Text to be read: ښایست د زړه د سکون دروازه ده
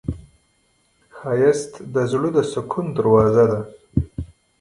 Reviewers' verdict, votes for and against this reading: accepted, 2, 0